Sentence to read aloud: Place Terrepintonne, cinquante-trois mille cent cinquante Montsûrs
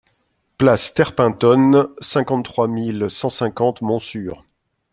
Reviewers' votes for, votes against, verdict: 2, 0, accepted